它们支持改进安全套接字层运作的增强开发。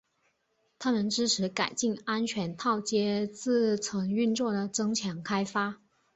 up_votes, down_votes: 3, 0